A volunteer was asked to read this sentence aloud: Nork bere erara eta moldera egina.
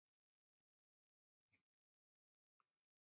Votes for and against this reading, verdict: 1, 2, rejected